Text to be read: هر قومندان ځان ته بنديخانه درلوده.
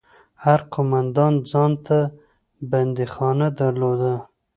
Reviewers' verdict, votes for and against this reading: accepted, 2, 0